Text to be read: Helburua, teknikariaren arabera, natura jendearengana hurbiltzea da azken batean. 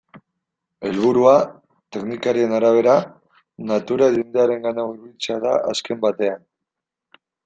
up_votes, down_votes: 2, 0